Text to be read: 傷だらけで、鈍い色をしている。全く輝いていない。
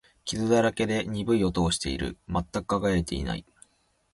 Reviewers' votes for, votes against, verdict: 0, 2, rejected